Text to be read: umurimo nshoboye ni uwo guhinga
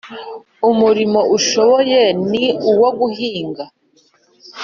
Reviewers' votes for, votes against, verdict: 1, 2, rejected